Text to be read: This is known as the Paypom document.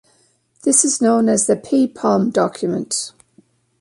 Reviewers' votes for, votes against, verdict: 2, 0, accepted